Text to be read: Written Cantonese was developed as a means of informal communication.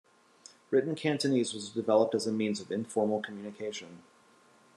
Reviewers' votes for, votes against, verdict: 2, 0, accepted